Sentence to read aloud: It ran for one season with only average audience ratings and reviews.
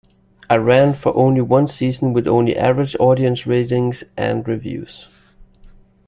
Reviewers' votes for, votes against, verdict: 2, 3, rejected